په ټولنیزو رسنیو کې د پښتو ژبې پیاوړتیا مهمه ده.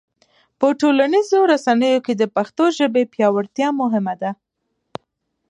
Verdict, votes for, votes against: accepted, 4, 0